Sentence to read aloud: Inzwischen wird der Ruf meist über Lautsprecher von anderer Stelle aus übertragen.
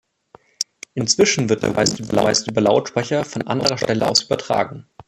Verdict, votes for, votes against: rejected, 1, 2